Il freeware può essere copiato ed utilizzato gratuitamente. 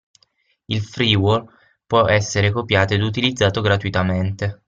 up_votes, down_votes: 0, 6